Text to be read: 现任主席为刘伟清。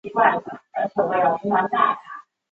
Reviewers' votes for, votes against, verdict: 0, 2, rejected